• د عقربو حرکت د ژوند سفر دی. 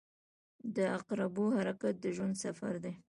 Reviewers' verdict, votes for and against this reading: accepted, 2, 0